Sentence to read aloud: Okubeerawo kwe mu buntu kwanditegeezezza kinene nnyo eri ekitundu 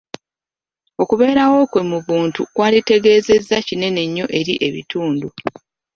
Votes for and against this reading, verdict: 0, 2, rejected